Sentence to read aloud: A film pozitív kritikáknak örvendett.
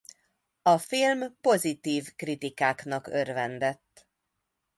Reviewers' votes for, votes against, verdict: 2, 0, accepted